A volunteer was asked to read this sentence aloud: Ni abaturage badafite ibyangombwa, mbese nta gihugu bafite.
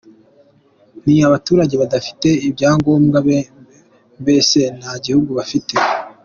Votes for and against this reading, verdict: 2, 1, accepted